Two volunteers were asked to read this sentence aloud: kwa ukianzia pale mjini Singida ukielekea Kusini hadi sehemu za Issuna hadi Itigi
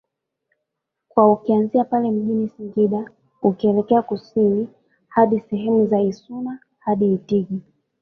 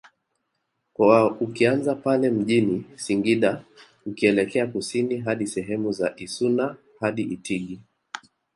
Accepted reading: second